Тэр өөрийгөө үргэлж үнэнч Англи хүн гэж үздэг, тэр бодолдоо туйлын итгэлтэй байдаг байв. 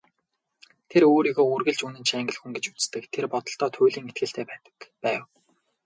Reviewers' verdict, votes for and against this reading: accepted, 4, 0